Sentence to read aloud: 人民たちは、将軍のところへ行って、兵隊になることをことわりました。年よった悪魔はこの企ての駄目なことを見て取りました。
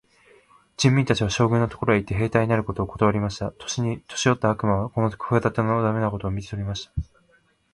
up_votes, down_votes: 0, 2